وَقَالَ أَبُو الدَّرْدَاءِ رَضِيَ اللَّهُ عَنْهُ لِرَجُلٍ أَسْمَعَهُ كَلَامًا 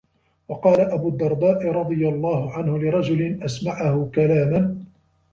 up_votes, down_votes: 1, 2